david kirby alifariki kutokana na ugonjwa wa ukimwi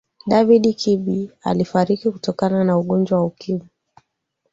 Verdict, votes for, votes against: accepted, 2, 1